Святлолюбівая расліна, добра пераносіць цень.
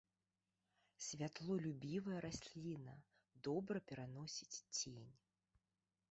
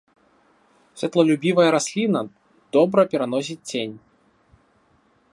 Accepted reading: second